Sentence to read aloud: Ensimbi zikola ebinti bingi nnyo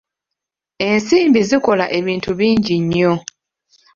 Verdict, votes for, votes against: accepted, 2, 0